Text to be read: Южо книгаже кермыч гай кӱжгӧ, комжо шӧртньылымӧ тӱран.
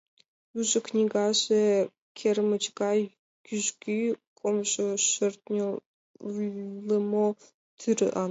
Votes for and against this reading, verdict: 1, 2, rejected